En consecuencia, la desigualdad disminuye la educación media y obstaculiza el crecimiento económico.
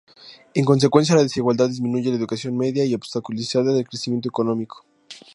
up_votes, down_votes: 2, 0